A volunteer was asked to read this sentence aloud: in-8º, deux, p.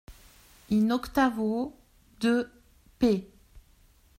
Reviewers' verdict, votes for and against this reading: rejected, 0, 2